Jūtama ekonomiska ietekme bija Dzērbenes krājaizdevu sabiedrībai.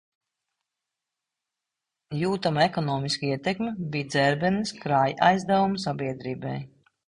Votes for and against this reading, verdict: 1, 2, rejected